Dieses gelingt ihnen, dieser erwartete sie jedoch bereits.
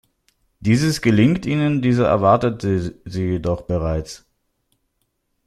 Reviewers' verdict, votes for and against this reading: rejected, 1, 2